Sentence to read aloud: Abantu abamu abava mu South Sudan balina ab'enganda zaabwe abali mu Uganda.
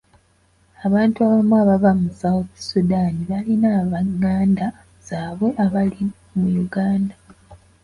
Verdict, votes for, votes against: accepted, 2, 0